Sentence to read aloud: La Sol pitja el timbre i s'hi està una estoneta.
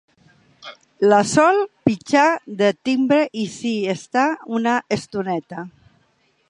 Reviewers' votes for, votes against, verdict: 0, 2, rejected